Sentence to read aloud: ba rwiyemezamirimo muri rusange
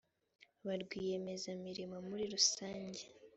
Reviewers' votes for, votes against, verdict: 3, 0, accepted